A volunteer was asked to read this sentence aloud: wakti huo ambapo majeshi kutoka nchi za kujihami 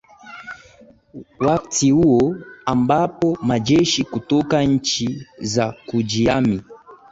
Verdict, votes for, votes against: accepted, 4, 1